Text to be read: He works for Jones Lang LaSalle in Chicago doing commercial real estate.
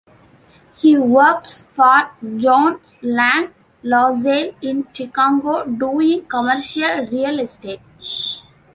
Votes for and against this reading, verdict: 2, 1, accepted